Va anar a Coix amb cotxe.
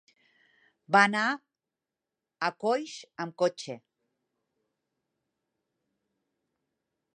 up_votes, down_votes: 3, 0